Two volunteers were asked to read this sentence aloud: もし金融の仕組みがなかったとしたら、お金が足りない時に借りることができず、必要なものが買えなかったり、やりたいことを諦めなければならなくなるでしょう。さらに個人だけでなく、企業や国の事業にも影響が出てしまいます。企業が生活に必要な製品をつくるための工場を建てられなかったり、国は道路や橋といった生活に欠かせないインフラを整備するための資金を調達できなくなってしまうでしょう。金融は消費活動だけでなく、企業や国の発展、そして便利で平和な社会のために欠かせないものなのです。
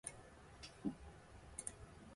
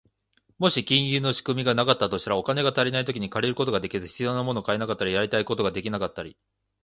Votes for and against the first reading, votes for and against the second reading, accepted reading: 2, 0, 0, 3, first